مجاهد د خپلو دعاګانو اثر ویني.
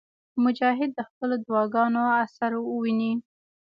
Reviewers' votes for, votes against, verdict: 0, 2, rejected